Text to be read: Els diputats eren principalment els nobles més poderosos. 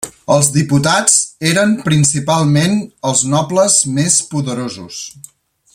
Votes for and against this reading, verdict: 1, 2, rejected